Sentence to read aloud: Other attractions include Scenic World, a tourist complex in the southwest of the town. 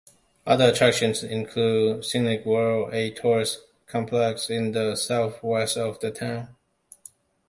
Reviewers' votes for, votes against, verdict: 2, 0, accepted